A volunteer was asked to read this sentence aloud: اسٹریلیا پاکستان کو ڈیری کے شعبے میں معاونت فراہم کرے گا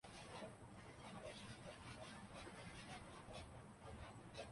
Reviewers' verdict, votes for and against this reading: rejected, 1, 3